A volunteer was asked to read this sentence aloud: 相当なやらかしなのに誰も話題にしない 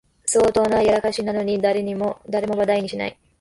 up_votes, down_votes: 1, 2